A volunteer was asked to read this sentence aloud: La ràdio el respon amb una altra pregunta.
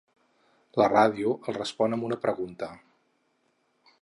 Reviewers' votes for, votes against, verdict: 0, 4, rejected